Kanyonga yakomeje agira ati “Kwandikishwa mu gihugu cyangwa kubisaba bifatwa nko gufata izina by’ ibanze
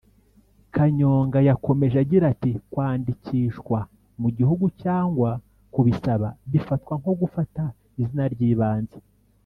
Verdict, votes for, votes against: rejected, 1, 2